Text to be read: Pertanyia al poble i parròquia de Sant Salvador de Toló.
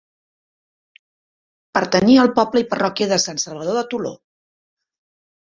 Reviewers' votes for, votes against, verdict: 4, 0, accepted